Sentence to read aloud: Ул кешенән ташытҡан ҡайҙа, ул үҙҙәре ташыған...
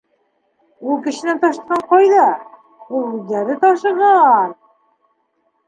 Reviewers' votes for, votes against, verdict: 1, 2, rejected